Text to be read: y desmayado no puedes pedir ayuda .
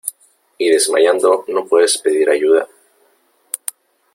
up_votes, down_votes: 2, 3